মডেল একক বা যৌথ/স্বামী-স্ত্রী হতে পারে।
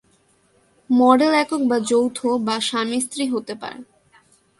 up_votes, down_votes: 2, 0